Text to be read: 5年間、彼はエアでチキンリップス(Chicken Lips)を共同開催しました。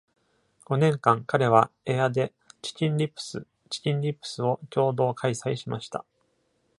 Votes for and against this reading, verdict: 0, 2, rejected